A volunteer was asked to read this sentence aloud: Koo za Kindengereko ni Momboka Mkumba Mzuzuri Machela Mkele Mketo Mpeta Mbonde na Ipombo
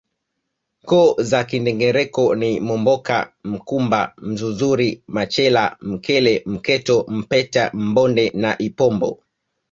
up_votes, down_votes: 2, 1